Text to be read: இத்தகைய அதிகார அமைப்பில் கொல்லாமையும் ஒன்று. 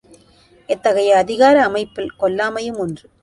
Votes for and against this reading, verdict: 2, 1, accepted